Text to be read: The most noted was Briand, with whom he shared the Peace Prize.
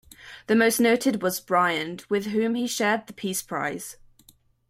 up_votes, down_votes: 2, 0